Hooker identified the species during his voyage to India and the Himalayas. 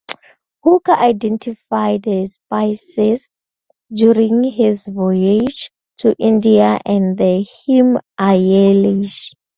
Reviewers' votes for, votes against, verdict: 0, 4, rejected